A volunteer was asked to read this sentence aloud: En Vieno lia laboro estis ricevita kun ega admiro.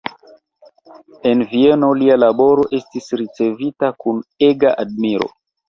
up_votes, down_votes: 2, 1